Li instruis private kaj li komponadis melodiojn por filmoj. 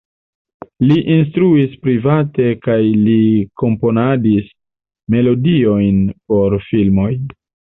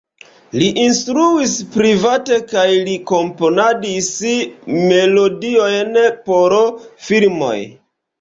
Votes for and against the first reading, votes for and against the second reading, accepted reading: 2, 0, 0, 2, first